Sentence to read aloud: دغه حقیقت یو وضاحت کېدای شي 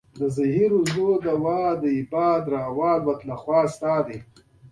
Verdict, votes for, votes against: rejected, 1, 2